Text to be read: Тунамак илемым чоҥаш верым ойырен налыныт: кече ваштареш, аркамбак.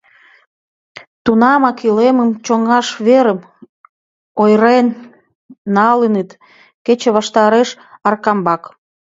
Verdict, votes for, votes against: rejected, 1, 4